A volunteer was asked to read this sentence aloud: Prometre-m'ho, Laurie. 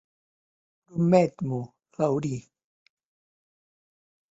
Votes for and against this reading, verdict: 0, 2, rejected